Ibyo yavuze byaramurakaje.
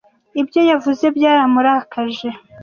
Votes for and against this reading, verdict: 2, 1, accepted